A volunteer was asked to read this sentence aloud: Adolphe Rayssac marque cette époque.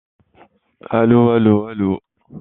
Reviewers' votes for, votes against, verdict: 0, 2, rejected